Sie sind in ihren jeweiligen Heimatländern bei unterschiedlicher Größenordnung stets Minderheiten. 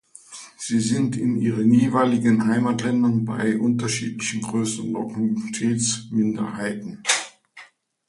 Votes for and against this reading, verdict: 2, 1, accepted